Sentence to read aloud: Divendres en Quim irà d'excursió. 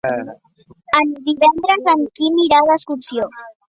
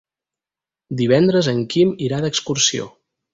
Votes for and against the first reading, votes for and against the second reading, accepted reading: 1, 2, 4, 0, second